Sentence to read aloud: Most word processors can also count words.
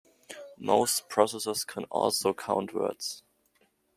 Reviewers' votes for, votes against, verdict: 1, 2, rejected